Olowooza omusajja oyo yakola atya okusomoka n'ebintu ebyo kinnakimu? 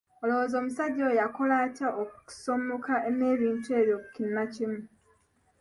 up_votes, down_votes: 1, 2